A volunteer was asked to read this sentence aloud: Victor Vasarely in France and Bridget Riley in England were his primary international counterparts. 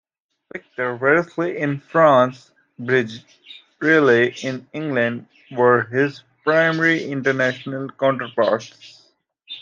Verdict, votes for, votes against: rejected, 0, 2